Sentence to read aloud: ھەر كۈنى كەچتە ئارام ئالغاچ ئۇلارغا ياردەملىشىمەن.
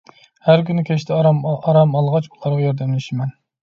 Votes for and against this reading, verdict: 1, 2, rejected